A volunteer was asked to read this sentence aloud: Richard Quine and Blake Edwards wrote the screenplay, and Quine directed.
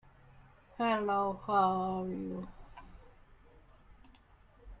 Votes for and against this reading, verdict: 0, 2, rejected